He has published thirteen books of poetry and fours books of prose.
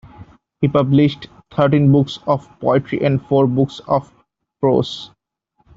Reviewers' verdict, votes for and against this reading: rejected, 1, 2